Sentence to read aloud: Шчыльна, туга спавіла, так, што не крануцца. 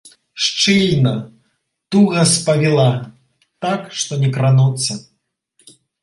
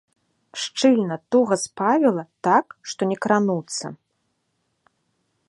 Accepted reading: first